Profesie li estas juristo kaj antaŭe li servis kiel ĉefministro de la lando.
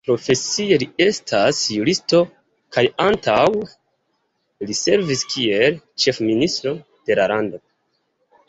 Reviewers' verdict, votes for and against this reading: accepted, 2, 1